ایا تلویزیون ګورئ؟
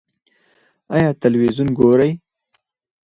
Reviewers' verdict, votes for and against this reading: rejected, 0, 4